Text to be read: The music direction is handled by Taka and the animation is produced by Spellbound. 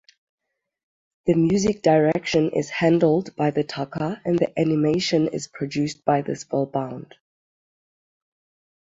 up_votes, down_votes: 0, 6